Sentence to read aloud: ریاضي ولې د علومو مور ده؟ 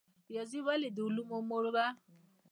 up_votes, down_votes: 2, 0